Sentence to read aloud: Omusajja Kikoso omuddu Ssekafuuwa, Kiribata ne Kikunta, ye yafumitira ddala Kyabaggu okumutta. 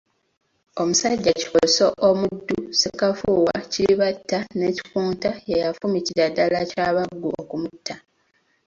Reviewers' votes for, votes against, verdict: 2, 1, accepted